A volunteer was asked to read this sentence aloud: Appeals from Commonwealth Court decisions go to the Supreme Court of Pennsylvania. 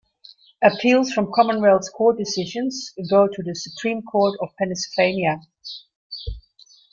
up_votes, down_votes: 1, 2